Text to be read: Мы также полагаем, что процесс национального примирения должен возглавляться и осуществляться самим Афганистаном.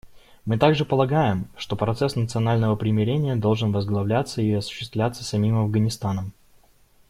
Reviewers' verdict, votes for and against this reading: accepted, 2, 0